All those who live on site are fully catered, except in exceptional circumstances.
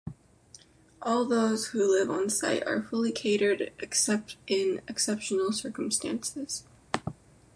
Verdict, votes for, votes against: accepted, 2, 0